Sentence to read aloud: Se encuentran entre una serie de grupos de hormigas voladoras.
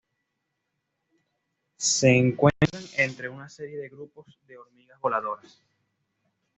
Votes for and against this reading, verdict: 2, 0, accepted